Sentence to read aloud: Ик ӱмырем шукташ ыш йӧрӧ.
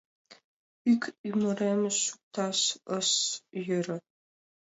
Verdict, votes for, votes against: accepted, 2, 0